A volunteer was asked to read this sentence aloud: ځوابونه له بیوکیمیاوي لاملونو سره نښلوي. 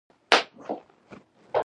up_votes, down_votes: 0, 2